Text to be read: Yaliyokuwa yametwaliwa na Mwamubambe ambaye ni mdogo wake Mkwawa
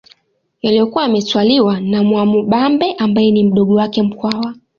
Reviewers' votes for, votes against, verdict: 2, 1, accepted